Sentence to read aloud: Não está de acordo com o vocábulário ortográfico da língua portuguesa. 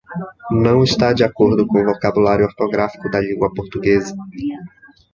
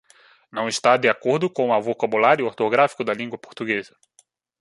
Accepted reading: first